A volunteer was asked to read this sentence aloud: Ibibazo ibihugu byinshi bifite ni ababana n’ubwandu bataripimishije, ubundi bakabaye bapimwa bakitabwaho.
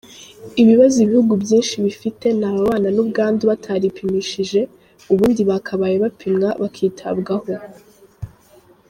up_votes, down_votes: 2, 1